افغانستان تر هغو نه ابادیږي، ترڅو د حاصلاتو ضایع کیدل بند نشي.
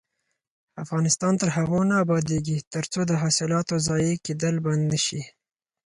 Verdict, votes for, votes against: accepted, 4, 0